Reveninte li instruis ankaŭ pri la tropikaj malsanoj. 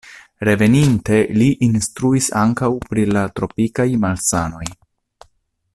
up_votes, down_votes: 2, 0